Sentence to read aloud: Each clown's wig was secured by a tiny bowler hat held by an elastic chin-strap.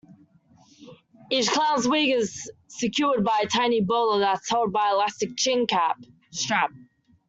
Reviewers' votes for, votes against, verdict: 0, 2, rejected